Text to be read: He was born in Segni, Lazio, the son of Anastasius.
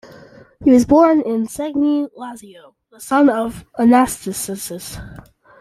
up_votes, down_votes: 0, 2